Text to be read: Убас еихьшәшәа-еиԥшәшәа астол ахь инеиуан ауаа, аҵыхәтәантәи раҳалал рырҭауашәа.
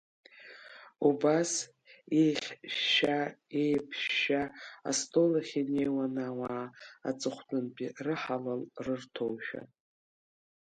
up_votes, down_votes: 1, 2